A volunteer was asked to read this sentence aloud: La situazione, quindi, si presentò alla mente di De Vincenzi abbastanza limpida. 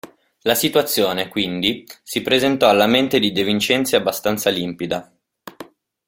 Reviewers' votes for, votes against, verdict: 2, 0, accepted